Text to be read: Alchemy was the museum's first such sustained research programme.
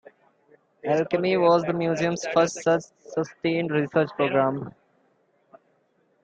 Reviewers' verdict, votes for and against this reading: rejected, 0, 2